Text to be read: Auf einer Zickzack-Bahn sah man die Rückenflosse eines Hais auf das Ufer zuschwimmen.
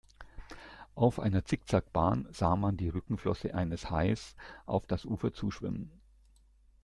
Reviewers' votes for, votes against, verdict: 2, 0, accepted